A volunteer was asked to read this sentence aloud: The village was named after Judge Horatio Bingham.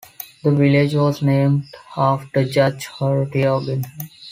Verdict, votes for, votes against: rejected, 1, 2